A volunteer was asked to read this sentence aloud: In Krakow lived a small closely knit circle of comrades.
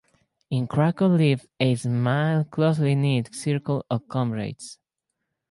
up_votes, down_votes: 2, 2